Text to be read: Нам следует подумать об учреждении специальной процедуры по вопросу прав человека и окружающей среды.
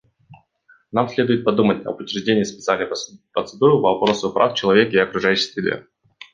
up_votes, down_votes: 1, 2